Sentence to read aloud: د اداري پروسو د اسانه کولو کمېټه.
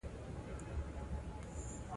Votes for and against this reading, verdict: 1, 2, rejected